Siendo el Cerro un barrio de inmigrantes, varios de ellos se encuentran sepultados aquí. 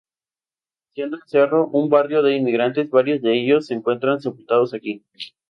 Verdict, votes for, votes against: rejected, 0, 2